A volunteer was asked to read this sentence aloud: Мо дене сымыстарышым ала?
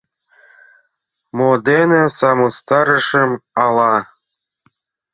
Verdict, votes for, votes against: accepted, 2, 0